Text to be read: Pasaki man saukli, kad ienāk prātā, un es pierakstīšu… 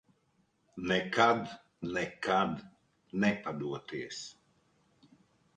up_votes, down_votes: 0, 2